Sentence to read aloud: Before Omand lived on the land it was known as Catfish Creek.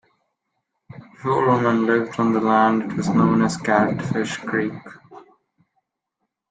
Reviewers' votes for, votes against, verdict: 1, 2, rejected